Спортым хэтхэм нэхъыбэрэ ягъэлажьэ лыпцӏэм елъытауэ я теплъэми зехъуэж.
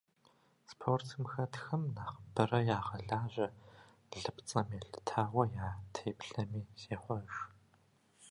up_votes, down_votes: 2, 1